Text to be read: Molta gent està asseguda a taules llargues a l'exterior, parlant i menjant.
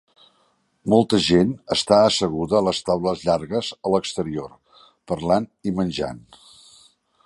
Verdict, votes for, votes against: rejected, 0, 2